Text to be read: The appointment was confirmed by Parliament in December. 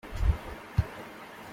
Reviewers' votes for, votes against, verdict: 0, 2, rejected